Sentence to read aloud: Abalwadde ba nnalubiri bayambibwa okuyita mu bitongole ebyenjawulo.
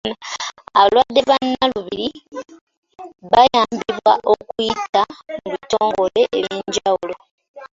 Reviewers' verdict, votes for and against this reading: accepted, 2, 1